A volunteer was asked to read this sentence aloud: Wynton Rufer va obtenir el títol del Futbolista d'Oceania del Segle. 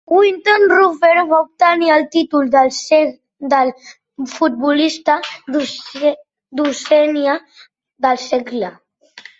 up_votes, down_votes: 0, 2